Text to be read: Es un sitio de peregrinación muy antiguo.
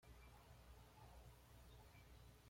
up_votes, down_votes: 1, 2